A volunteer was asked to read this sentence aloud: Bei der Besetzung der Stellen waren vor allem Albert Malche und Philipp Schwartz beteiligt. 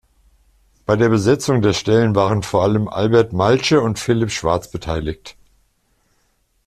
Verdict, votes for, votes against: accepted, 2, 0